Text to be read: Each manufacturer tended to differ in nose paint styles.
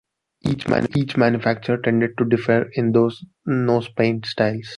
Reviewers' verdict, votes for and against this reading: rejected, 1, 2